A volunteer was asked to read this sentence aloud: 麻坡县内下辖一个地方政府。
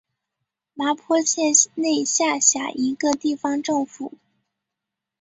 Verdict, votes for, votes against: accepted, 2, 1